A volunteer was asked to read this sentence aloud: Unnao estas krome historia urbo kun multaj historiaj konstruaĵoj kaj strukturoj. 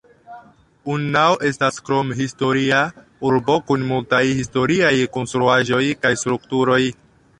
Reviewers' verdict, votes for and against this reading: rejected, 0, 2